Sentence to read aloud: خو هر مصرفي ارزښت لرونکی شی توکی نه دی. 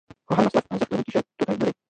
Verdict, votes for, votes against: rejected, 1, 2